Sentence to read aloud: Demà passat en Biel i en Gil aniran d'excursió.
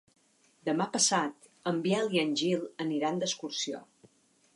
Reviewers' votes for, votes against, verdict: 3, 0, accepted